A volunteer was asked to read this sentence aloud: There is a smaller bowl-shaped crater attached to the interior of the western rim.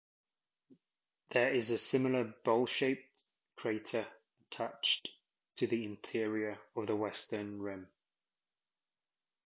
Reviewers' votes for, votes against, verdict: 0, 2, rejected